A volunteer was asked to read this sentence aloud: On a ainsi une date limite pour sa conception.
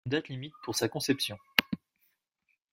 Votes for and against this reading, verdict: 0, 2, rejected